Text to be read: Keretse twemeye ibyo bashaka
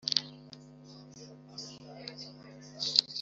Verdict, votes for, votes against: rejected, 1, 2